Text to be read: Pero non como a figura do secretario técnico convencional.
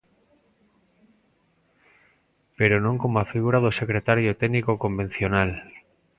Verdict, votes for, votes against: accepted, 2, 0